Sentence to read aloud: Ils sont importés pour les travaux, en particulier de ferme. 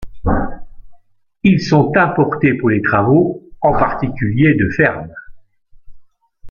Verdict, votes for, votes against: accepted, 2, 0